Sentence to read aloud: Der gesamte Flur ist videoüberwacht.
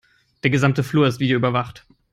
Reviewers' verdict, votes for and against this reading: accepted, 3, 0